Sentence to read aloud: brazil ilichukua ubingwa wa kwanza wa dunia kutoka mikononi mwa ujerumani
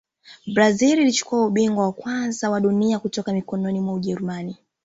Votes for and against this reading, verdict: 1, 2, rejected